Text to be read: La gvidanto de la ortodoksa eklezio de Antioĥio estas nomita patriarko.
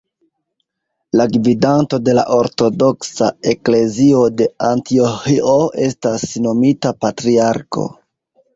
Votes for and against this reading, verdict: 2, 0, accepted